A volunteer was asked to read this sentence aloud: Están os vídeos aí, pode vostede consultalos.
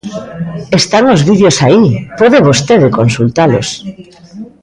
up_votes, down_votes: 2, 0